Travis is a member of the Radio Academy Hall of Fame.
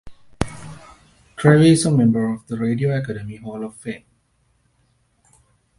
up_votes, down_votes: 0, 2